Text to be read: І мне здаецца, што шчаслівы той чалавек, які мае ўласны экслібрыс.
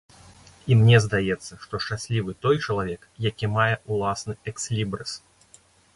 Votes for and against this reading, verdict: 2, 0, accepted